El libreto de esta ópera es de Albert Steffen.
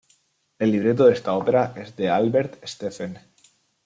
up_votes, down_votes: 2, 0